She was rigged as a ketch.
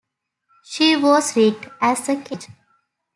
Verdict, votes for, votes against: accepted, 2, 0